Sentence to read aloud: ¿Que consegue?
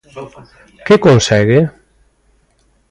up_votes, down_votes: 1, 2